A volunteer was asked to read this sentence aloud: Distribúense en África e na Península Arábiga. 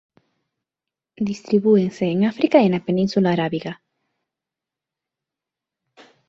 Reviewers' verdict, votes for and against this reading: accepted, 2, 0